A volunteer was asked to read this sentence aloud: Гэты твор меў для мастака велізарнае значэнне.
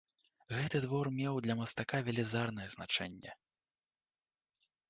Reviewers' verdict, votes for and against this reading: accepted, 2, 0